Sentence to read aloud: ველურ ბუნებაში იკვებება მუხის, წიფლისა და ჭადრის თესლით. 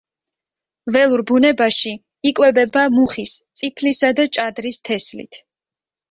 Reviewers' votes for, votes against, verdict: 2, 0, accepted